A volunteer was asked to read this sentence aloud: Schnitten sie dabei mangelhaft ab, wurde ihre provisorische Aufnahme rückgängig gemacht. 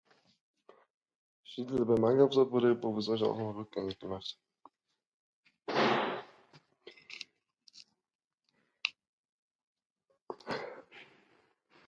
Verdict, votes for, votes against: rejected, 0, 2